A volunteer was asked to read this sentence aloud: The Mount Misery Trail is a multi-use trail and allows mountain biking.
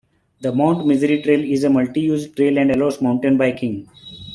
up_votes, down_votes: 2, 0